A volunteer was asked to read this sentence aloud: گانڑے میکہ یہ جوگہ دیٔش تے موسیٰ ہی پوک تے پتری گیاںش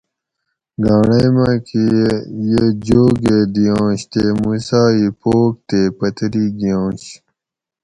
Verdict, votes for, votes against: rejected, 2, 2